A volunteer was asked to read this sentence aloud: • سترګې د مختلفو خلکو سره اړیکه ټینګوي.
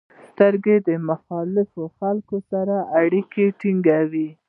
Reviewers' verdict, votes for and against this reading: rejected, 1, 2